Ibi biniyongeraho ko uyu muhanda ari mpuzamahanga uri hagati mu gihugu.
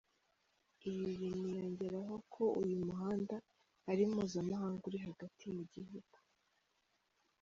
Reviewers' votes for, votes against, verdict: 2, 3, rejected